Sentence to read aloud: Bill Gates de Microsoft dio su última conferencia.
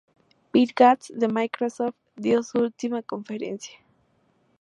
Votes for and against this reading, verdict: 2, 0, accepted